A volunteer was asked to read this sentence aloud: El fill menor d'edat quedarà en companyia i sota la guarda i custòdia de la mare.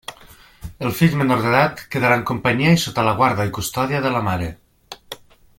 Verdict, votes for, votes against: accepted, 3, 0